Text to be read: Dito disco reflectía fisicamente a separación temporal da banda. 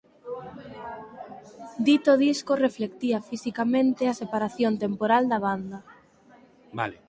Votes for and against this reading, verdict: 4, 2, accepted